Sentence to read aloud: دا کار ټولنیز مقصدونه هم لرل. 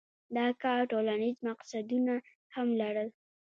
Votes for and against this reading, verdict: 2, 0, accepted